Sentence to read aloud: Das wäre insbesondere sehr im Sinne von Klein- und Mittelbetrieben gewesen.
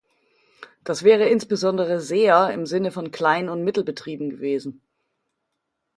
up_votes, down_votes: 2, 0